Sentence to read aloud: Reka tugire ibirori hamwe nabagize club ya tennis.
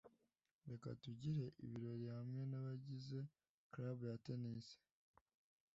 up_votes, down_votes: 2, 0